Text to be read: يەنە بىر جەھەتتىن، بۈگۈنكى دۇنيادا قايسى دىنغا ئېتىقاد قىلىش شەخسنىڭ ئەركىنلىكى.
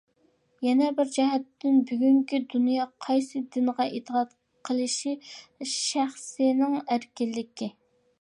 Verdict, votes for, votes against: rejected, 0, 2